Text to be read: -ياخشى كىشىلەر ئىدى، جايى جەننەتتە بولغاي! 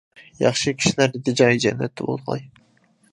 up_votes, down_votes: 2, 1